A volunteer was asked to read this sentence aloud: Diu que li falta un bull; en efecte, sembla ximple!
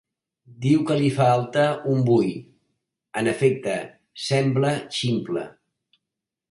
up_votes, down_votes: 3, 0